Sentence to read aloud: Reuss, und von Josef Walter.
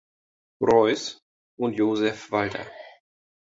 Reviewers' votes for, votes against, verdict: 0, 2, rejected